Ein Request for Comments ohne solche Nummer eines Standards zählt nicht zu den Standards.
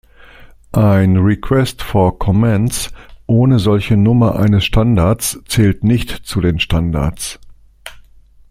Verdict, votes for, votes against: accepted, 2, 0